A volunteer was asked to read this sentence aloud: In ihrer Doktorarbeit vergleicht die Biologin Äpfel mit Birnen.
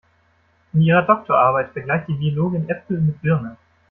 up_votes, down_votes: 2, 0